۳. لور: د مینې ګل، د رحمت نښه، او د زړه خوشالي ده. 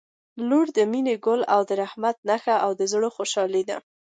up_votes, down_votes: 0, 2